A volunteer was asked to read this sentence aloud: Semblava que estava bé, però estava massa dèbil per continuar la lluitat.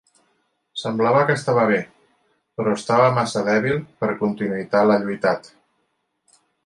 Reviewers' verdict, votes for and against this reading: rejected, 1, 2